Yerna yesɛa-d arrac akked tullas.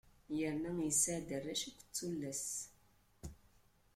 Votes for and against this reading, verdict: 1, 2, rejected